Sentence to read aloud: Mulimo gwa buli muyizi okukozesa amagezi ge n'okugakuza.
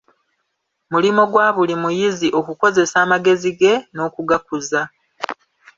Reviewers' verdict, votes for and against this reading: accepted, 2, 0